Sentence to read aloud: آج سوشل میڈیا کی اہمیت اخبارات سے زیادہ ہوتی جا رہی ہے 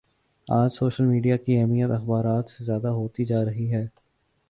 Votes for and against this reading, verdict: 2, 0, accepted